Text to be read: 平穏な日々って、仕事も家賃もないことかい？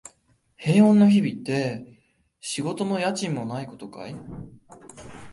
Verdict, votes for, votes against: accepted, 2, 0